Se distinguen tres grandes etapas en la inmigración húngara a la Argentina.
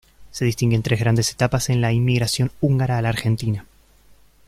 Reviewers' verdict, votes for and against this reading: accepted, 2, 0